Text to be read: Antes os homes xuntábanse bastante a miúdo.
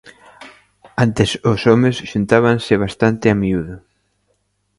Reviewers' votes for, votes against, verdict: 2, 0, accepted